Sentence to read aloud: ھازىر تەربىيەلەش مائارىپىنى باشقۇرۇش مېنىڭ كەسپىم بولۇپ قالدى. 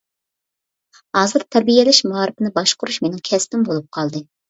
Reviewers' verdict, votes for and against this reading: accepted, 2, 0